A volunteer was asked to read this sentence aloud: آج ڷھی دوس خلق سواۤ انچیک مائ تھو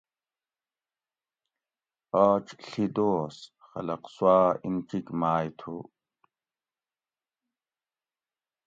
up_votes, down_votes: 2, 0